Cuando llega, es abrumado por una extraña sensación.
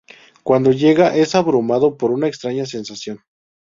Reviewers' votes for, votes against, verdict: 2, 0, accepted